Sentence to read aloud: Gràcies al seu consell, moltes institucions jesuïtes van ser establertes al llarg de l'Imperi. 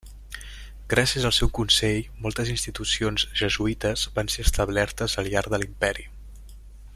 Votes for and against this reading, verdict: 3, 1, accepted